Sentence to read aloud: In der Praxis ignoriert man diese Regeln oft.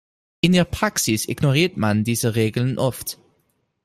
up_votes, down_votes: 2, 0